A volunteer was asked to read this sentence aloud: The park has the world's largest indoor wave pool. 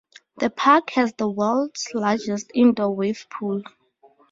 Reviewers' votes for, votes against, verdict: 2, 0, accepted